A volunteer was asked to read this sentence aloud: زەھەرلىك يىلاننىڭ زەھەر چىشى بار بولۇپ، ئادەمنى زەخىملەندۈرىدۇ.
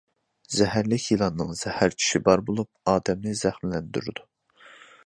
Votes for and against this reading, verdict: 2, 1, accepted